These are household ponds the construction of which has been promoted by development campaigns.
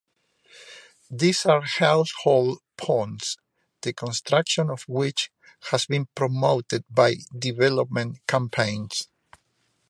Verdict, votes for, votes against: accepted, 2, 1